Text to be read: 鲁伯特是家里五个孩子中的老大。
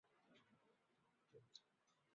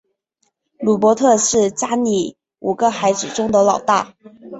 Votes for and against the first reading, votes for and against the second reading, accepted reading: 0, 5, 4, 0, second